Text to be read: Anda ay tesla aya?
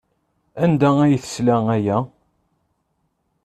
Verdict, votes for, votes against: accepted, 2, 0